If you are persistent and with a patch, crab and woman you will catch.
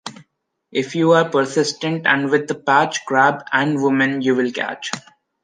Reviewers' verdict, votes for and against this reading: accepted, 2, 1